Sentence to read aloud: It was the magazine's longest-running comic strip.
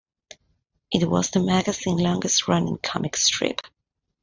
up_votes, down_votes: 0, 2